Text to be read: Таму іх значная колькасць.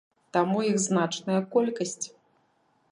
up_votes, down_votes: 2, 0